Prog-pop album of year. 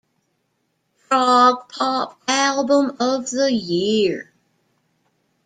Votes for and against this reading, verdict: 1, 2, rejected